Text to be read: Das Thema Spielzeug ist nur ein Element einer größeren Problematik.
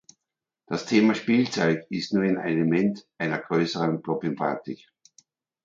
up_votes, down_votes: 1, 2